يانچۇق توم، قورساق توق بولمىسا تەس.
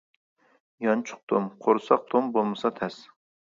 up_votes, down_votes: 1, 2